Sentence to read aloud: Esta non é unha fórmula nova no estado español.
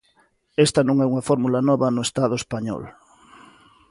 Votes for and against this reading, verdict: 2, 0, accepted